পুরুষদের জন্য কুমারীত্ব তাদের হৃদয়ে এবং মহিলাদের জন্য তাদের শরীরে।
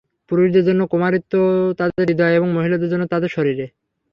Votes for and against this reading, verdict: 0, 3, rejected